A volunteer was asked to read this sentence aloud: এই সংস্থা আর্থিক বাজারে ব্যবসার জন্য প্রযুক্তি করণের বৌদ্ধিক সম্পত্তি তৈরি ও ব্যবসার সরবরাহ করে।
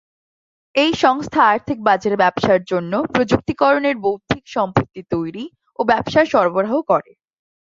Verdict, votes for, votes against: accepted, 2, 0